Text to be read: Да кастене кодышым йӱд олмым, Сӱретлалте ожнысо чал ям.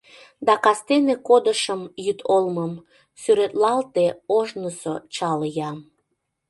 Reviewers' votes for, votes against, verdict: 2, 0, accepted